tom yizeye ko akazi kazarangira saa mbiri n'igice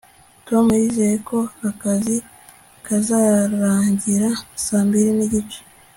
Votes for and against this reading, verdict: 2, 0, accepted